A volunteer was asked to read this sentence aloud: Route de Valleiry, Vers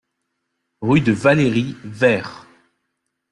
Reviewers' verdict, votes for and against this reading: rejected, 0, 2